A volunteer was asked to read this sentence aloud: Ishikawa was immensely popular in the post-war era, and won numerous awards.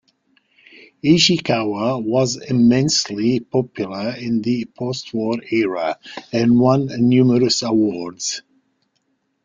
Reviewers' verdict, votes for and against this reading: accepted, 2, 0